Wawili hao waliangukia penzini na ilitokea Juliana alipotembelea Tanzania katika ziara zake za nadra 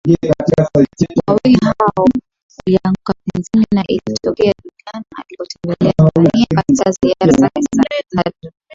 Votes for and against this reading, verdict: 4, 5, rejected